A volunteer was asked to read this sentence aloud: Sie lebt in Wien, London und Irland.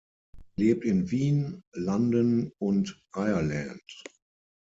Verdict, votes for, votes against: rejected, 0, 6